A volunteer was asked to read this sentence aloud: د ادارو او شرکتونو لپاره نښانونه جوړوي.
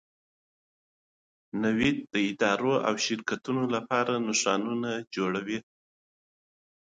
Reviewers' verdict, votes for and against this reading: rejected, 1, 2